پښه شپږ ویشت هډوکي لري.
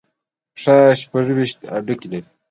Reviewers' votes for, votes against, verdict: 0, 2, rejected